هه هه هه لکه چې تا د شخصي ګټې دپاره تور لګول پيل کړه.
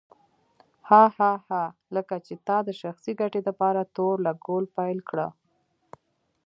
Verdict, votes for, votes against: accepted, 2, 1